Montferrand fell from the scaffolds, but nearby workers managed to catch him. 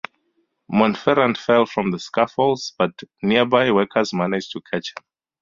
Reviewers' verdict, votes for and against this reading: accepted, 2, 0